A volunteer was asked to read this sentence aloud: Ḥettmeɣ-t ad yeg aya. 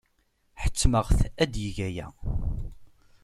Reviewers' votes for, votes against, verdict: 2, 0, accepted